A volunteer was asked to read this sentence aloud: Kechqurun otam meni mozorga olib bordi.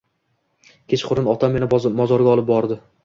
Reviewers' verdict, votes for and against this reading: accepted, 2, 0